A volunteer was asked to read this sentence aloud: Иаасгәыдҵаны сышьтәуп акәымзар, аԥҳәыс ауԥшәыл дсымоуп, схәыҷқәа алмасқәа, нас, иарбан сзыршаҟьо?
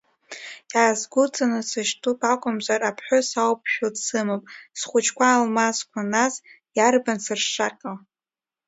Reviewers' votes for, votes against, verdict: 1, 2, rejected